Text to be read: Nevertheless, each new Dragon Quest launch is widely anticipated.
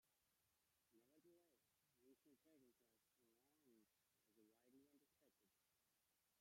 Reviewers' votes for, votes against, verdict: 0, 2, rejected